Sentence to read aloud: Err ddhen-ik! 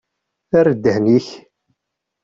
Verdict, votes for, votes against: accepted, 2, 0